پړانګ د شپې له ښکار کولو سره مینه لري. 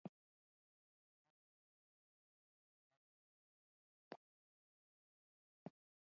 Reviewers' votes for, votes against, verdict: 1, 2, rejected